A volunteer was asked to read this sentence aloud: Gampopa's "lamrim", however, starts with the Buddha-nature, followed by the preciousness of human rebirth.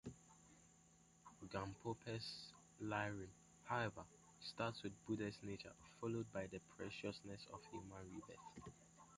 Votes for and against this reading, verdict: 2, 1, accepted